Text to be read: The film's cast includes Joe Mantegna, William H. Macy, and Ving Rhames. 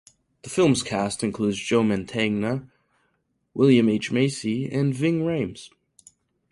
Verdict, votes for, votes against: accepted, 4, 0